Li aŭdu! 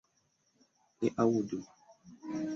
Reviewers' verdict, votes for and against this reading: accepted, 2, 1